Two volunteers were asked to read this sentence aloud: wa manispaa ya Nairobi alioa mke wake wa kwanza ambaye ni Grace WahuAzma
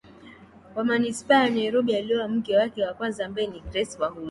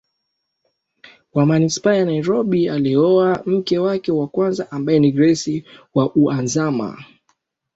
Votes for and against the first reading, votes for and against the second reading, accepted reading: 1, 2, 2, 0, second